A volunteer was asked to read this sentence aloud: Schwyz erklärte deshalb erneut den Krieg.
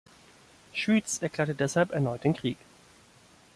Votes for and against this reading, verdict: 2, 0, accepted